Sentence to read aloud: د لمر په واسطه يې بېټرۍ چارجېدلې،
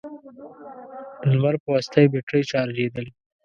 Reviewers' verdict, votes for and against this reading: rejected, 1, 2